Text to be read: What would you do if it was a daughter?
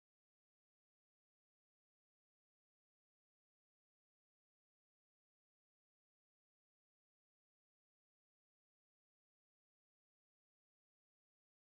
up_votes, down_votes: 0, 2